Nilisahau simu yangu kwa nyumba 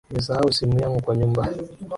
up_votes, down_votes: 2, 0